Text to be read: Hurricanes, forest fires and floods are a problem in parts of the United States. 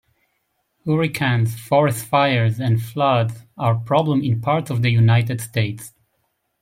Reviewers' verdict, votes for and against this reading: accepted, 2, 1